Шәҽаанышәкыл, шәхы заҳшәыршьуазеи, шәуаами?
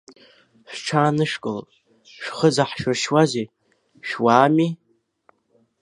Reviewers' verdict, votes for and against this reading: rejected, 1, 2